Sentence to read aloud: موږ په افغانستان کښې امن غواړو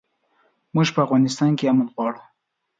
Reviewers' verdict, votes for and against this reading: accepted, 2, 0